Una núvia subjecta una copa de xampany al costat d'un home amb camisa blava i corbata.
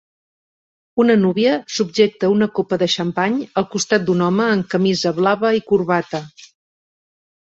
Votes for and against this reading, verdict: 3, 0, accepted